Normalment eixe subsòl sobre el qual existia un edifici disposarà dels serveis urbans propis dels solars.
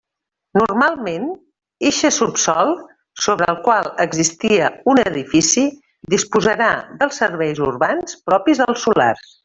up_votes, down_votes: 1, 2